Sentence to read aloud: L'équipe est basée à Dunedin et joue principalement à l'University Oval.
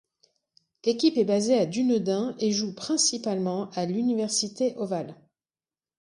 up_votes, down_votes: 1, 2